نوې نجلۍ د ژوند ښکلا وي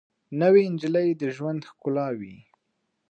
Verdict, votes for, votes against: rejected, 1, 2